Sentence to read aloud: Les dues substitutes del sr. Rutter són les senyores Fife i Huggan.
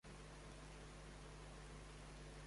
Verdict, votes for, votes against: rejected, 0, 2